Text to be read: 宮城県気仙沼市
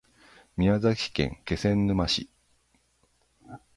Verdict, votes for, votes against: rejected, 0, 6